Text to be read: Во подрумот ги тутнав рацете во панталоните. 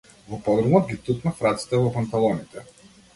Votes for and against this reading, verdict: 2, 1, accepted